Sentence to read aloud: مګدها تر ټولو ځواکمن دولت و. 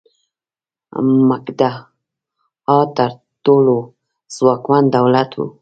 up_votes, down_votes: 0, 2